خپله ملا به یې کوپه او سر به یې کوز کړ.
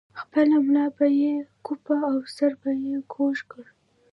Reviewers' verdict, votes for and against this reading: rejected, 1, 2